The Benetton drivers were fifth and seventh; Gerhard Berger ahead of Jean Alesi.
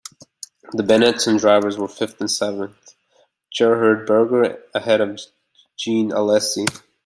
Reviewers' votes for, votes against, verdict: 2, 1, accepted